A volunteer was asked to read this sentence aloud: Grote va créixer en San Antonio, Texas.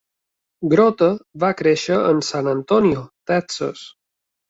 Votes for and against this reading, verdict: 2, 0, accepted